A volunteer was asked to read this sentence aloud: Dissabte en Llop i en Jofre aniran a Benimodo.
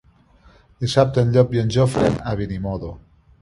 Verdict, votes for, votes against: rejected, 0, 2